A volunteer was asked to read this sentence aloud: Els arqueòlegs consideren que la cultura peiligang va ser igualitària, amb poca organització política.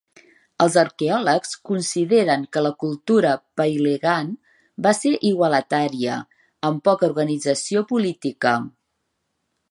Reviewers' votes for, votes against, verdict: 4, 5, rejected